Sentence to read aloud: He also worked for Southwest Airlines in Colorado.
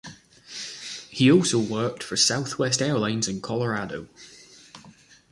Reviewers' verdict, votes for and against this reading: accepted, 2, 0